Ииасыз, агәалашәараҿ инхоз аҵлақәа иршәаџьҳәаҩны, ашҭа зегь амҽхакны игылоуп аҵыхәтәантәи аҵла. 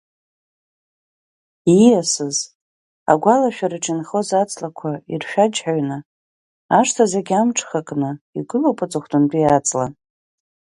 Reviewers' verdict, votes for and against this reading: accepted, 3, 0